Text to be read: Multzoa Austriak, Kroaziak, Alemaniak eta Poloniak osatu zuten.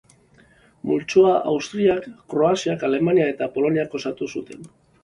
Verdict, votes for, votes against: accepted, 3, 0